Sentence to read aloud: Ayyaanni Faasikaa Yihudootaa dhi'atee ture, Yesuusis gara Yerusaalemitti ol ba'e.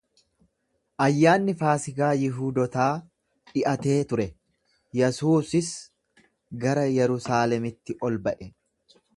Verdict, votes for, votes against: rejected, 1, 2